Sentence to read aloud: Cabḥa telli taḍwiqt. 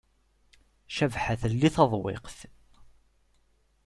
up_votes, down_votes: 2, 0